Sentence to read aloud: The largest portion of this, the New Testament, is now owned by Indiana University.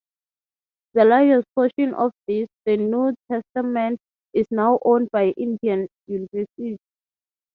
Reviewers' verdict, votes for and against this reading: rejected, 0, 6